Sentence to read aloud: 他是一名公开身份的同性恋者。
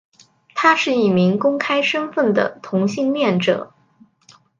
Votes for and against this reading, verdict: 3, 0, accepted